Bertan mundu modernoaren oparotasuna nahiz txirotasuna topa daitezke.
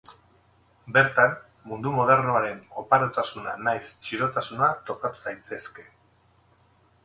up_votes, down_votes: 0, 6